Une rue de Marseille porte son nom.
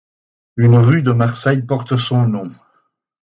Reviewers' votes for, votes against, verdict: 4, 0, accepted